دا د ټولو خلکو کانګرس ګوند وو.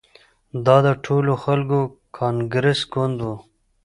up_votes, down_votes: 2, 0